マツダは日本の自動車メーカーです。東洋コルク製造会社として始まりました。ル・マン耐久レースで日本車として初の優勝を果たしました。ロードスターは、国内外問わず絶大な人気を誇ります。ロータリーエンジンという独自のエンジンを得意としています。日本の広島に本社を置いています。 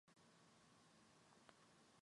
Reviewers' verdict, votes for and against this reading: rejected, 0, 2